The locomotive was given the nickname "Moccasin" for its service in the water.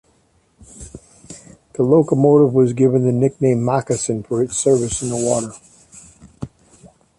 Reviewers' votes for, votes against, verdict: 2, 0, accepted